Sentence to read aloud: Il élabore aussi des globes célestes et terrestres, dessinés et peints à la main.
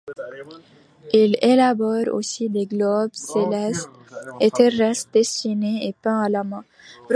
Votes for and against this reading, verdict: 0, 2, rejected